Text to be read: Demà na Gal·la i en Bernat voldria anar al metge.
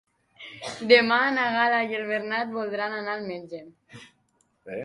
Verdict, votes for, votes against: rejected, 0, 2